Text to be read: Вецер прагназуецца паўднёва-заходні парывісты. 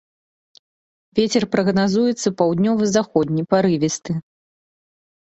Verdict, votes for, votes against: accepted, 2, 1